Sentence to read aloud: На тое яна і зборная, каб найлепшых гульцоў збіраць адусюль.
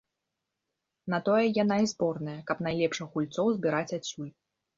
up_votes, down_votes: 2, 0